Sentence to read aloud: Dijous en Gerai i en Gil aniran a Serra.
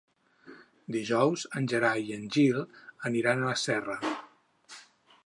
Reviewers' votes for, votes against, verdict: 2, 8, rejected